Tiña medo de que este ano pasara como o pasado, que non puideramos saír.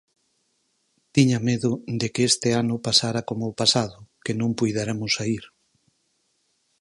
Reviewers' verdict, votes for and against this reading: rejected, 2, 4